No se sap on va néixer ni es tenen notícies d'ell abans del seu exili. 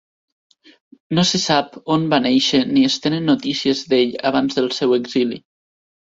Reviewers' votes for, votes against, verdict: 2, 0, accepted